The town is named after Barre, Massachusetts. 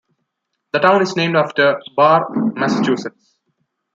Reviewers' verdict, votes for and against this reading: accepted, 2, 0